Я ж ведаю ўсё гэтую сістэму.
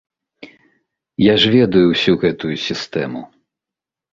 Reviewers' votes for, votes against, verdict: 2, 1, accepted